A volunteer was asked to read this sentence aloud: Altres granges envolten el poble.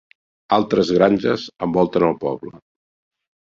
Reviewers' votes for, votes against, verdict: 6, 0, accepted